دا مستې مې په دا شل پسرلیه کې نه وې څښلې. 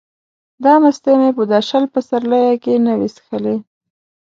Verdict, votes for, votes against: accepted, 2, 0